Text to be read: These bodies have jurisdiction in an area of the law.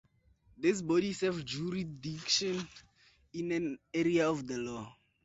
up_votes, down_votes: 0, 2